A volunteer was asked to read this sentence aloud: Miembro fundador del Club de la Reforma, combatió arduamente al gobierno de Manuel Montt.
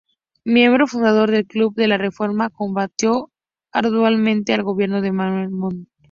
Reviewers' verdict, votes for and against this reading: rejected, 0, 2